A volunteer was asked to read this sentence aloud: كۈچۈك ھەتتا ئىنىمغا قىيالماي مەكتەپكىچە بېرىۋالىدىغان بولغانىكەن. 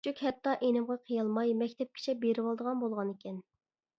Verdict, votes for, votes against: rejected, 1, 2